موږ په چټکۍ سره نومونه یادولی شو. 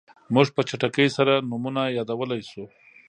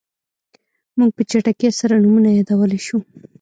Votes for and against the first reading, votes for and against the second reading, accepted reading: 2, 0, 0, 2, first